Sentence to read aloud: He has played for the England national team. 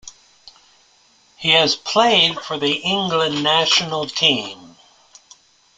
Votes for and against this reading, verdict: 2, 0, accepted